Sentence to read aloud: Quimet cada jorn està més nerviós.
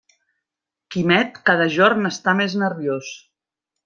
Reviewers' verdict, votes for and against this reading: accepted, 3, 0